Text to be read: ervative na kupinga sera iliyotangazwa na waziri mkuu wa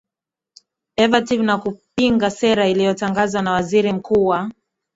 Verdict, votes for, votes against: accepted, 2, 0